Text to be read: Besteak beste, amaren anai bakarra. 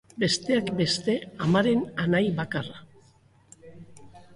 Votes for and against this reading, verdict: 3, 0, accepted